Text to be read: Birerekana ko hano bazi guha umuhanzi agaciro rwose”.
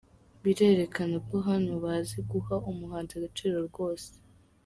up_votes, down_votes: 4, 0